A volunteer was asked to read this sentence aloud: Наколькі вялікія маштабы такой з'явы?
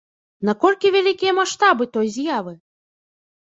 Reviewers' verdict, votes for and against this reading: rejected, 1, 2